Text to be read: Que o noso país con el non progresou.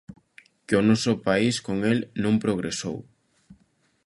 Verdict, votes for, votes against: accepted, 2, 0